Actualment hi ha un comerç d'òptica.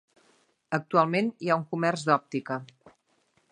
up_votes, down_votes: 3, 0